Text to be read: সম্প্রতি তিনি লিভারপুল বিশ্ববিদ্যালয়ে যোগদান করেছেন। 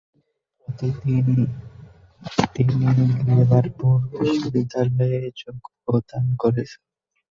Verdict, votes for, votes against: rejected, 0, 4